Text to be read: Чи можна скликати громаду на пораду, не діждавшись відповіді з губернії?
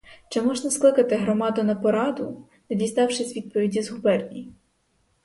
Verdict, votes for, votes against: rejected, 2, 4